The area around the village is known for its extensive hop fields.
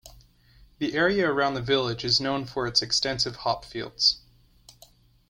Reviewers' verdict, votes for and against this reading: accepted, 2, 0